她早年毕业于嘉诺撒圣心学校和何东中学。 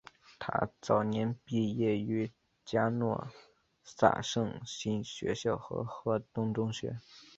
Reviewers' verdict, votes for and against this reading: rejected, 1, 2